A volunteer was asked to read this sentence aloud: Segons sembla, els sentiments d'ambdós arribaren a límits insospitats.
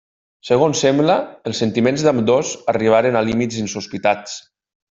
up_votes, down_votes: 3, 0